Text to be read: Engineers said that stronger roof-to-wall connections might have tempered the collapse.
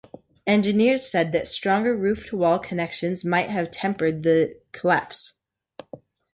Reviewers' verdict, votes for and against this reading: accepted, 2, 0